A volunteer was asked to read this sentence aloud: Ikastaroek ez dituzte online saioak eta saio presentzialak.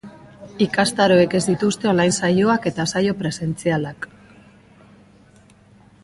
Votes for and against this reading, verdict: 2, 0, accepted